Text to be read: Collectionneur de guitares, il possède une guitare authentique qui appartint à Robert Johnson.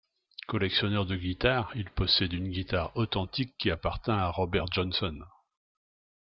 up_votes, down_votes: 2, 0